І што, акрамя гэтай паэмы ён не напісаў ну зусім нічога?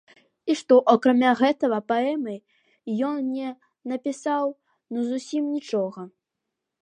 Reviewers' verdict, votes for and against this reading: rejected, 1, 2